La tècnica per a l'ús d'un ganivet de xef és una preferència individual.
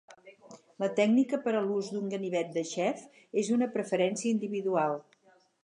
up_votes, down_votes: 8, 0